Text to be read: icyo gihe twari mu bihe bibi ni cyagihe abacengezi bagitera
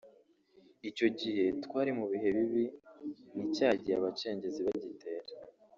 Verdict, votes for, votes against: rejected, 1, 2